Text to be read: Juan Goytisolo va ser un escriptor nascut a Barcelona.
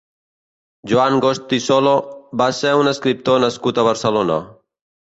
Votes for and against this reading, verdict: 1, 2, rejected